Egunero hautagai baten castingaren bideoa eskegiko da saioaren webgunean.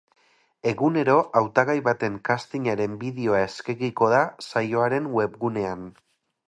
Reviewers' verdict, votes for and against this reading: accepted, 4, 0